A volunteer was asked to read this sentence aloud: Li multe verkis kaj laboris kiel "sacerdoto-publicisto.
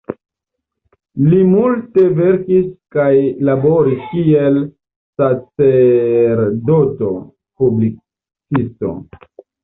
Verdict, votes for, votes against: accepted, 2, 0